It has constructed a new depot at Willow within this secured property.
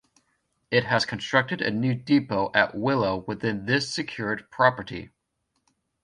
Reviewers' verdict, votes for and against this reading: accepted, 2, 0